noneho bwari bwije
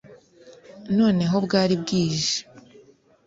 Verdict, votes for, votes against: accepted, 2, 0